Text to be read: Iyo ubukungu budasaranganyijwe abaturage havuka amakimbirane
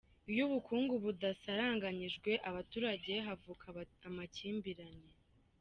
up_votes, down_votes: 1, 2